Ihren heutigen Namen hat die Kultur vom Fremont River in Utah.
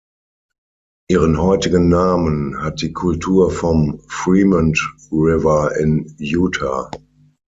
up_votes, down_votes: 6, 0